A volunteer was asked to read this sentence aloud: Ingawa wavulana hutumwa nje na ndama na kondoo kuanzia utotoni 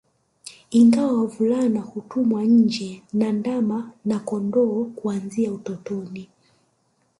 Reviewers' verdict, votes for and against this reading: rejected, 0, 2